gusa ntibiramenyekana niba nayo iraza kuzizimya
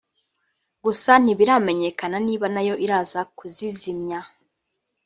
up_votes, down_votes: 2, 1